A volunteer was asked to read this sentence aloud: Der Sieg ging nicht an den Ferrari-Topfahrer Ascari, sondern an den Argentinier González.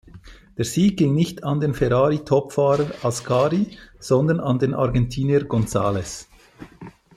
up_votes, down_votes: 2, 0